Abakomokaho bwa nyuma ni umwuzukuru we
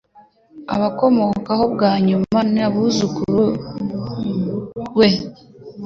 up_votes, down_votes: 0, 2